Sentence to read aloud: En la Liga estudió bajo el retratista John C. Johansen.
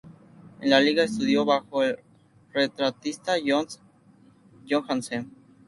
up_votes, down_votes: 0, 2